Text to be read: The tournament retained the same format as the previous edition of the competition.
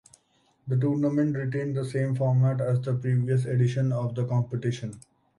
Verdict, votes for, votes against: accepted, 2, 0